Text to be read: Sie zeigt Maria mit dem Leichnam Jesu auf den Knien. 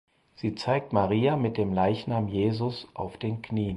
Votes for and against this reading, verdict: 0, 4, rejected